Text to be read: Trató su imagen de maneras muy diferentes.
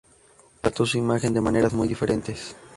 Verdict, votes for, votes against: accepted, 2, 0